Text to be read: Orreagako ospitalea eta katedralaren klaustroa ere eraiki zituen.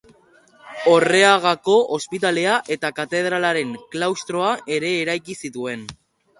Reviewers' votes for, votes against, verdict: 1, 2, rejected